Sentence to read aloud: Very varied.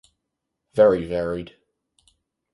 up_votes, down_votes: 2, 2